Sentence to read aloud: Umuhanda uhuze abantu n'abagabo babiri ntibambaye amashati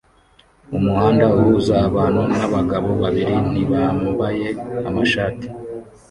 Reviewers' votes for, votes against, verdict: 1, 2, rejected